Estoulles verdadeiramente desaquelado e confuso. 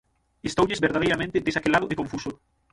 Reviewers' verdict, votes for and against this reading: rejected, 0, 6